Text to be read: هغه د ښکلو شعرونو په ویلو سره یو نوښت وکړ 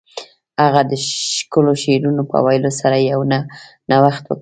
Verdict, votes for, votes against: accepted, 2, 0